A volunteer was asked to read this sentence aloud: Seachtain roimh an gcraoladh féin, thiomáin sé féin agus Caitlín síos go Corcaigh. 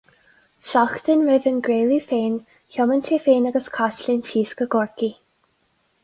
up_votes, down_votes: 4, 0